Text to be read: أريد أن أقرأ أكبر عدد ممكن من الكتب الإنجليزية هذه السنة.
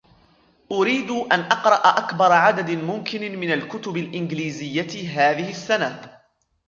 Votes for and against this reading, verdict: 2, 1, accepted